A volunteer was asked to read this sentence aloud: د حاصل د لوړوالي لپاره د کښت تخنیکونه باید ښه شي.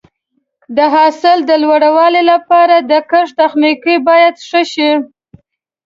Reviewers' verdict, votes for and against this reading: accepted, 2, 1